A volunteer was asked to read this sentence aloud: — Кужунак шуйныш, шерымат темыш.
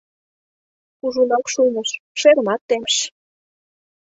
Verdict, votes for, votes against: accepted, 2, 0